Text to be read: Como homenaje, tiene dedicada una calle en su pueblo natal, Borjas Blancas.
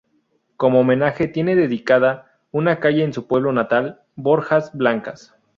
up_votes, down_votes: 0, 2